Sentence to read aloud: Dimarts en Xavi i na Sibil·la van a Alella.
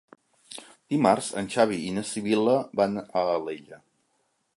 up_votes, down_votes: 2, 0